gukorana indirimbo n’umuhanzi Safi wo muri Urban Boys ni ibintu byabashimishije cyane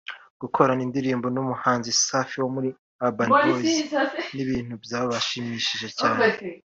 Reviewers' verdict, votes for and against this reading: accepted, 3, 0